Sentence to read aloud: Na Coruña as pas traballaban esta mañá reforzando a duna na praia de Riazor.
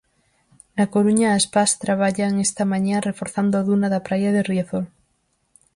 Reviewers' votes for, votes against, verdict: 0, 4, rejected